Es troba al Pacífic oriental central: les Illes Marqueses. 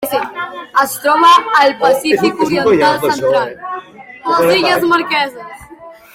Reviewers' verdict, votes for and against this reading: rejected, 0, 2